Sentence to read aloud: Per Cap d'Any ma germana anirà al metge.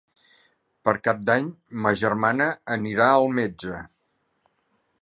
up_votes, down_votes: 3, 0